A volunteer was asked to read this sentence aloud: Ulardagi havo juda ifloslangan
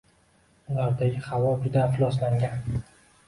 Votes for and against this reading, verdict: 2, 0, accepted